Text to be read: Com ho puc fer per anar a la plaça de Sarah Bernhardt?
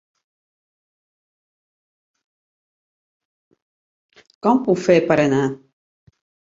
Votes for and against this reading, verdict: 0, 2, rejected